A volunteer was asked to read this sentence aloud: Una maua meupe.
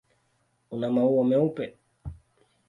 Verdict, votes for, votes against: accepted, 2, 0